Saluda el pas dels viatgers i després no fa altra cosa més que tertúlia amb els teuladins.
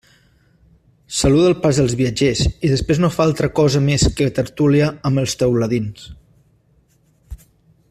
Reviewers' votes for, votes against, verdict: 2, 0, accepted